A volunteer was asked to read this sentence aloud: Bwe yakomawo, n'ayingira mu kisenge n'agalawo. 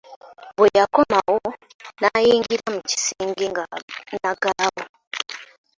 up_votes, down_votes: 0, 2